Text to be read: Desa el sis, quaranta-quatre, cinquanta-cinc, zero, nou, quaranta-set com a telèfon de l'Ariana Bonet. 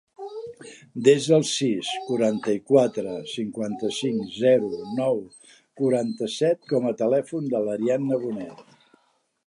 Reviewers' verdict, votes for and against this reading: rejected, 0, 2